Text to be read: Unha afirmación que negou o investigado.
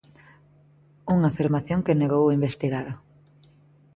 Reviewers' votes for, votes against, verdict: 2, 0, accepted